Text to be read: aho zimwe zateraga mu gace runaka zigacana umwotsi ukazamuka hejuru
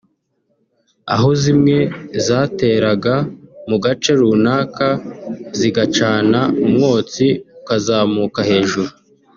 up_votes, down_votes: 0, 2